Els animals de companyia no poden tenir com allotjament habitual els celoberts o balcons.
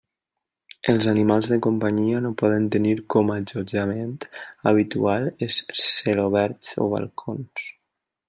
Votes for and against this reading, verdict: 1, 2, rejected